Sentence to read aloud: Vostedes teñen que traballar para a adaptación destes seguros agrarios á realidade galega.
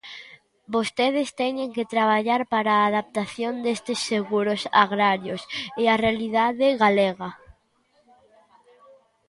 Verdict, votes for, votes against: rejected, 0, 2